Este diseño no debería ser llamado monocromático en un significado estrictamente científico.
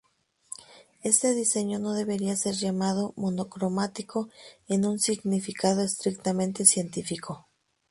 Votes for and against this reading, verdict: 2, 0, accepted